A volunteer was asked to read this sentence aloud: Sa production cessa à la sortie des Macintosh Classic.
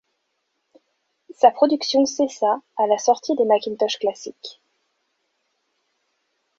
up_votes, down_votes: 2, 0